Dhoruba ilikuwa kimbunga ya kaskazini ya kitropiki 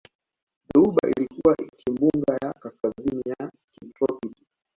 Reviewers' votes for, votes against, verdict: 2, 1, accepted